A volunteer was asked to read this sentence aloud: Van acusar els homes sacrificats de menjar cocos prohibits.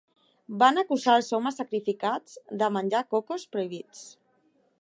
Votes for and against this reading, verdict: 2, 1, accepted